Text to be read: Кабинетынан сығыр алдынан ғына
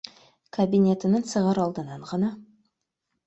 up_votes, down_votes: 2, 0